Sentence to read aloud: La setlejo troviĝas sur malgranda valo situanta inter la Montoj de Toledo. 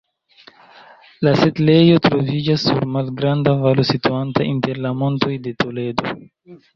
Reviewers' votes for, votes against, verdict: 2, 0, accepted